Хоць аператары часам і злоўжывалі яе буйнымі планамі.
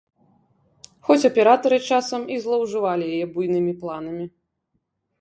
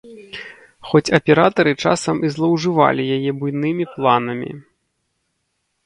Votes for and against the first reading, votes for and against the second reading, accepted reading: 1, 2, 2, 0, second